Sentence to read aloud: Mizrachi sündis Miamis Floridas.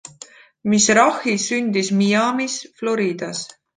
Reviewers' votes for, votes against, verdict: 2, 0, accepted